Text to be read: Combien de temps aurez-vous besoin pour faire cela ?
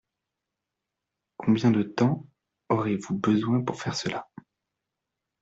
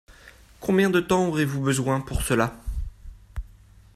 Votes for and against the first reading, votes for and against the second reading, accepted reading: 2, 0, 1, 2, first